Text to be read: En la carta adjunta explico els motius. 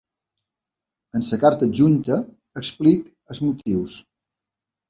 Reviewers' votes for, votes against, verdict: 0, 2, rejected